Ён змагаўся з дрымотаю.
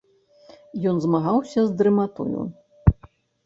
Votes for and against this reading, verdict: 0, 2, rejected